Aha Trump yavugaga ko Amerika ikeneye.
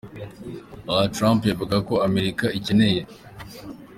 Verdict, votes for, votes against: accepted, 2, 0